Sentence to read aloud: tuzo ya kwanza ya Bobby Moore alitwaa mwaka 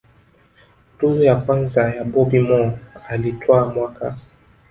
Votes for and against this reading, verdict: 0, 2, rejected